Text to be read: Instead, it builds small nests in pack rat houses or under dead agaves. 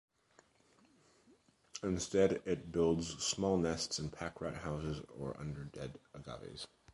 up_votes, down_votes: 0, 2